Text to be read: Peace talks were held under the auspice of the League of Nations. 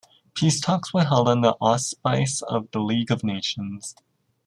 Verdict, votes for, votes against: rejected, 0, 2